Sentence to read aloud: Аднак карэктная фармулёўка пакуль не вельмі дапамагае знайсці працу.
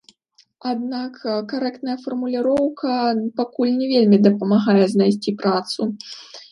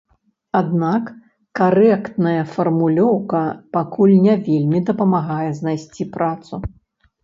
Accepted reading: second